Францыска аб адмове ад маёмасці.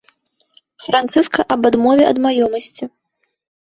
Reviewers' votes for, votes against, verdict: 2, 1, accepted